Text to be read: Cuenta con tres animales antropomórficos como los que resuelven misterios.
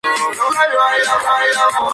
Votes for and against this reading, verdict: 0, 2, rejected